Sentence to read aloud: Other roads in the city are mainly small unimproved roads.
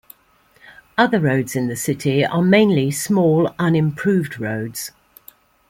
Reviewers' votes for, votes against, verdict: 2, 0, accepted